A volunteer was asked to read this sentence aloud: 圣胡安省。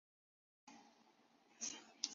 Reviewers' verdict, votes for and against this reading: rejected, 0, 4